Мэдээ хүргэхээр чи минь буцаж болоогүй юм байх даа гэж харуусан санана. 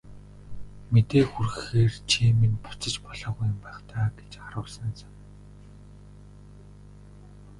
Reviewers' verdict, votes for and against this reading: rejected, 0, 2